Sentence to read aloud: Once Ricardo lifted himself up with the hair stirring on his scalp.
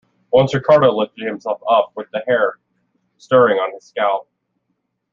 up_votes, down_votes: 2, 1